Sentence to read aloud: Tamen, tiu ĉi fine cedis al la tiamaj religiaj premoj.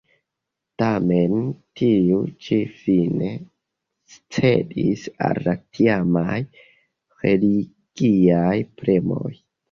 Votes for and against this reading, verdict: 2, 1, accepted